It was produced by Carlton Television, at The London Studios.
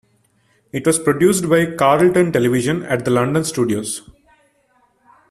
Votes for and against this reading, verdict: 2, 0, accepted